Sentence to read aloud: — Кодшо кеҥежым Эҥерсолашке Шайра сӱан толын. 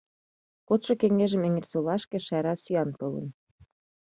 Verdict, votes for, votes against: accepted, 2, 0